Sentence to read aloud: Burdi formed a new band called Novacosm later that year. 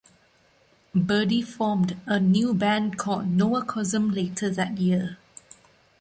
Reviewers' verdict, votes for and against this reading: rejected, 1, 2